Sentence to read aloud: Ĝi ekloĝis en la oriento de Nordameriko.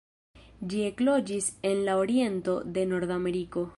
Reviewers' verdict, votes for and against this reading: accepted, 2, 0